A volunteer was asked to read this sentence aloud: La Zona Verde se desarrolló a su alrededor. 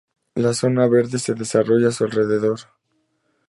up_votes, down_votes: 4, 0